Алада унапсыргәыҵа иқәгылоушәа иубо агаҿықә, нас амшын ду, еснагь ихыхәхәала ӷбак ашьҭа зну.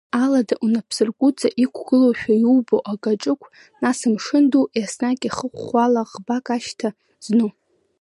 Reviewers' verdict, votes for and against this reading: accepted, 2, 1